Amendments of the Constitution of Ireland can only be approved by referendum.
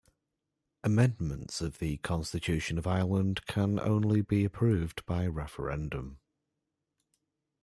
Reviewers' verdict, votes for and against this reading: accepted, 2, 0